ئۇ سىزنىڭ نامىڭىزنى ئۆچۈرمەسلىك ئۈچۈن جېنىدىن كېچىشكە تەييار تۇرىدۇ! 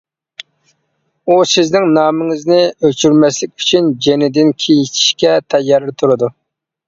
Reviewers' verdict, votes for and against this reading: rejected, 0, 2